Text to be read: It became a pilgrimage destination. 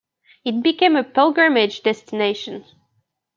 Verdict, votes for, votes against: accepted, 2, 0